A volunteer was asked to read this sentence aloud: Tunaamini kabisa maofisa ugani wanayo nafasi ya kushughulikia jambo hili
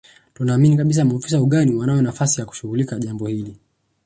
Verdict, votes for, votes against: rejected, 1, 2